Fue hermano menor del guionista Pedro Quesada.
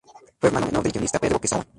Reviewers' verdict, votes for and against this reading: rejected, 0, 6